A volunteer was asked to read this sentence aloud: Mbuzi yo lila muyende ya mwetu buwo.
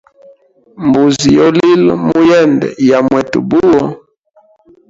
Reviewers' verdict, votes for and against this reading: rejected, 0, 3